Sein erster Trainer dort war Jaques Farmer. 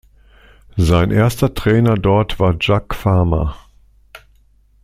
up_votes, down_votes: 2, 0